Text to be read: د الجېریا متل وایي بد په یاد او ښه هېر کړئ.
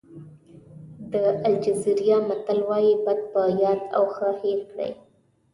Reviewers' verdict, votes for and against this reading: accepted, 2, 0